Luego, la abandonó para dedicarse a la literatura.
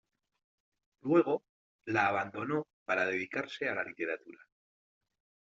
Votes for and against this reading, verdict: 2, 0, accepted